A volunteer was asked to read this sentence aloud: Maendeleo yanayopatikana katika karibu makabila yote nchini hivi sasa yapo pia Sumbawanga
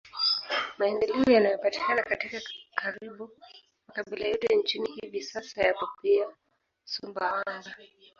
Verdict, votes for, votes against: rejected, 1, 2